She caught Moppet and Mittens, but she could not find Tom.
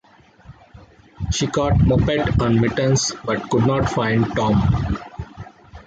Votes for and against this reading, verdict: 2, 3, rejected